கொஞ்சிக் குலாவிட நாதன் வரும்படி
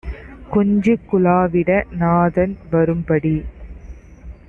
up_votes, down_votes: 2, 0